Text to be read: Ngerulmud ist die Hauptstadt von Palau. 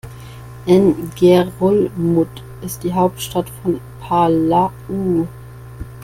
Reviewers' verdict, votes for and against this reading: rejected, 1, 2